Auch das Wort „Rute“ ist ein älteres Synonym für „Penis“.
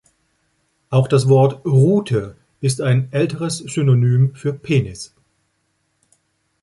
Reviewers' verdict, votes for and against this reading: accepted, 2, 0